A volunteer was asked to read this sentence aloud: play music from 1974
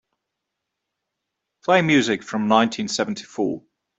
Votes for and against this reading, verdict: 0, 2, rejected